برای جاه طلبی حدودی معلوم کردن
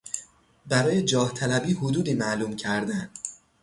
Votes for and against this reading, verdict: 3, 0, accepted